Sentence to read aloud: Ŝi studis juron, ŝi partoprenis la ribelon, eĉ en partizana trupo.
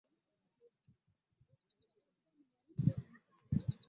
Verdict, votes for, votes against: rejected, 1, 2